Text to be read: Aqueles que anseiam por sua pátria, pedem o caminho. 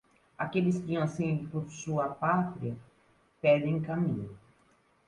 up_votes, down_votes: 1, 2